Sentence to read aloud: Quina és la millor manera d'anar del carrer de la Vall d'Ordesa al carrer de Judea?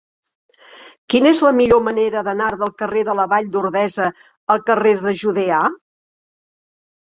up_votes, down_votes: 1, 2